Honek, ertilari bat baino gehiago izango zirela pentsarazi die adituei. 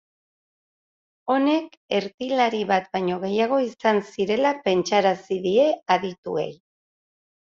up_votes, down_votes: 2, 0